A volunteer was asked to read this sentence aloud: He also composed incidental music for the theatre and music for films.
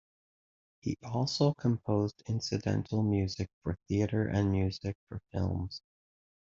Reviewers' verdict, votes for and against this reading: rejected, 0, 2